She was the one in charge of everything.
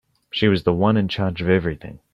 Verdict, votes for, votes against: accepted, 4, 0